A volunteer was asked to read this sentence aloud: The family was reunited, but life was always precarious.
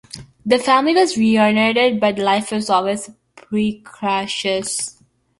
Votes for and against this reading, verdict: 0, 2, rejected